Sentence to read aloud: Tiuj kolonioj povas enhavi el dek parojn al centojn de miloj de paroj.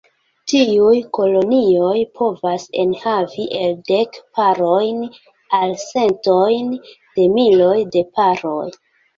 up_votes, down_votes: 0, 2